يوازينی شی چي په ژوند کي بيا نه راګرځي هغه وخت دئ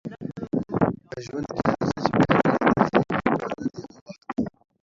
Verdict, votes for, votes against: rejected, 0, 2